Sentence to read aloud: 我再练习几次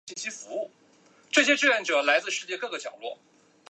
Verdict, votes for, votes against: rejected, 0, 2